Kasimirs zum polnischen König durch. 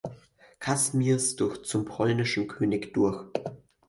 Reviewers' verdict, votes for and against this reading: rejected, 0, 4